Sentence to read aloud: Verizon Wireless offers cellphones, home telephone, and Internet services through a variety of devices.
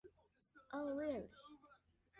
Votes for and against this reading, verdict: 0, 2, rejected